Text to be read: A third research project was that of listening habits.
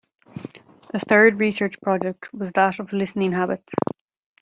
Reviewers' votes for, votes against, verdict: 2, 0, accepted